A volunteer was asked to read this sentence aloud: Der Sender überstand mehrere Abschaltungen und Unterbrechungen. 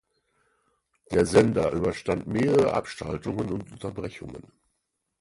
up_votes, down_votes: 2, 4